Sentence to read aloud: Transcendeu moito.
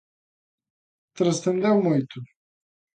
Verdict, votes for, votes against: accepted, 3, 0